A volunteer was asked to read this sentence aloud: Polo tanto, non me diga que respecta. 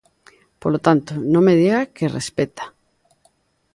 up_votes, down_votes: 2, 0